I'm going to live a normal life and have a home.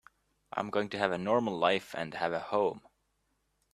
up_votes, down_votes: 0, 2